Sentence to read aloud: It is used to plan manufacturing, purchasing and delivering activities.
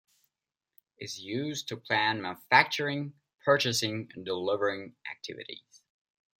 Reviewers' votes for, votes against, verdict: 0, 2, rejected